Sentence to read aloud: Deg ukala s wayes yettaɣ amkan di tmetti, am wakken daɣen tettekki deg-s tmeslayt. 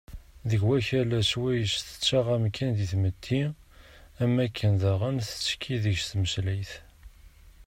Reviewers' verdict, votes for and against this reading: accepted, 2, 0